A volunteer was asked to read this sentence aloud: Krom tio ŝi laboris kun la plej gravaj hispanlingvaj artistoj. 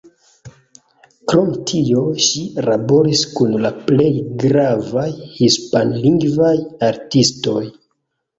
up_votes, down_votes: 1, 2